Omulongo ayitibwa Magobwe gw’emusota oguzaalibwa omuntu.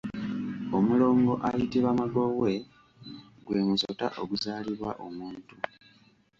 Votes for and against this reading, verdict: 2, 1, accepted